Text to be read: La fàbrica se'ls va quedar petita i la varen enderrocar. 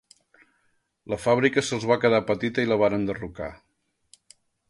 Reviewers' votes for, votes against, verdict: 0, 2, rejected